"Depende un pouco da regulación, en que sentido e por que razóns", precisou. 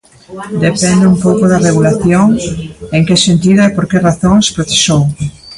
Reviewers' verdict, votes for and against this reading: rejected, 1, 2